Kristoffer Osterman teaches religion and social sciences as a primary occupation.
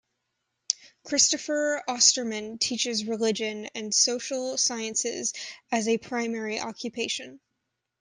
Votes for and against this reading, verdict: 2, 0, accepted